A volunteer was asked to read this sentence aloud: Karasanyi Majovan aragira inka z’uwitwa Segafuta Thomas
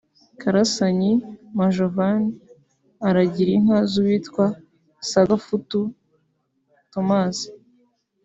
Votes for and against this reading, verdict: 1, 2, rejected